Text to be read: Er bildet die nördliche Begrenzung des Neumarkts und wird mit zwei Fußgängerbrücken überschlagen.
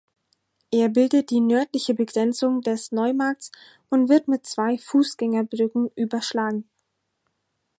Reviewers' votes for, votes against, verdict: 4, 0, accepted